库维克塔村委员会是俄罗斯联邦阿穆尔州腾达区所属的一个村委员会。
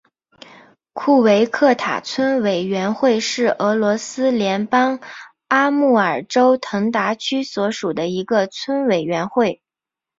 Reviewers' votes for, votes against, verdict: 2, 1, accepted